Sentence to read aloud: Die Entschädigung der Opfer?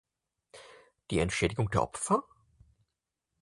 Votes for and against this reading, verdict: 4, 0, accepted